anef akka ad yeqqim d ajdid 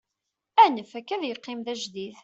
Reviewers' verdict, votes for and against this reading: accepted, 2, 0